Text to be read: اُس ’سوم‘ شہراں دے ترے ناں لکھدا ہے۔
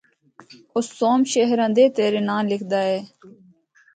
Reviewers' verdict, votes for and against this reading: rejected, 0, 2